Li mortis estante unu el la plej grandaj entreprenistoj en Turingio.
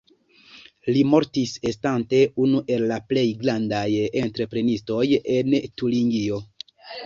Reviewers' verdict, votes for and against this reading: rejected, 1, 2